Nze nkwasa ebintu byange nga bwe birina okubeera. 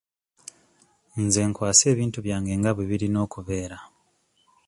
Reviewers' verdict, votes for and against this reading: accepted, 2, 0